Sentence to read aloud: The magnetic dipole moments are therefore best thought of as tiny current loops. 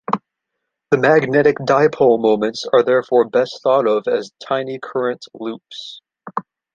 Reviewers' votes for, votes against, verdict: 2, 0, accepted